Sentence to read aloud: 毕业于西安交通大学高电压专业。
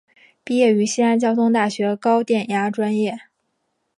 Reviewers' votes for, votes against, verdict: 3, 0, accepted